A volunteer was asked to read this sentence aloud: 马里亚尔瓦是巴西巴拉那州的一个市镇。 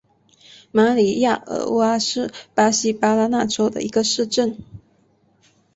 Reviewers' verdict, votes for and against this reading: accepted, 3, 0